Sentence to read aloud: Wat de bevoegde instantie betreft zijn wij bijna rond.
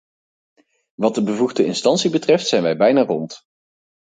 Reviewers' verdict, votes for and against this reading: accepted, 4, 0